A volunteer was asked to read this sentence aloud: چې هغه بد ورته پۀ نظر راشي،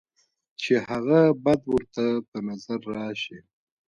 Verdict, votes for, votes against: accepted, 2, 0